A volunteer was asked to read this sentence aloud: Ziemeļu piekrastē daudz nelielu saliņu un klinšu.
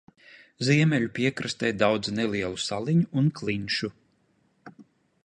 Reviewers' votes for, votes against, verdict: 2, 0, accepted